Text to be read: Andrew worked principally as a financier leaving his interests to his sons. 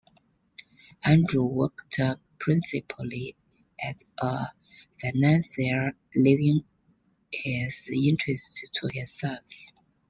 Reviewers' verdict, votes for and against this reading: accepted, 2, 1